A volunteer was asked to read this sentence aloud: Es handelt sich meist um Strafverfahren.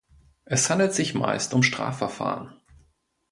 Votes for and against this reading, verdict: 2, 0, accepted